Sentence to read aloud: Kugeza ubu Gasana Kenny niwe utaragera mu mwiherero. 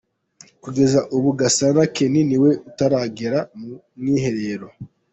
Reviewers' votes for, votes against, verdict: 0, 2, rejected